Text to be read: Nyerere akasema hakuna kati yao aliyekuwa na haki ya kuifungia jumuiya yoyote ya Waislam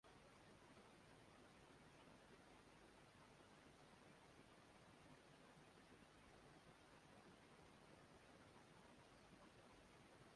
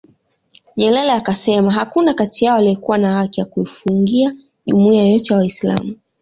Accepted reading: second